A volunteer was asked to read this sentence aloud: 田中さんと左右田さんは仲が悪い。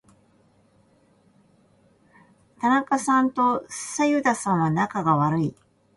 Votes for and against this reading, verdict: 2, 1, accepted